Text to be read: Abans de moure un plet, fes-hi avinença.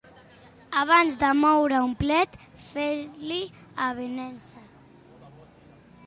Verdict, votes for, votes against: rejected, 1, 2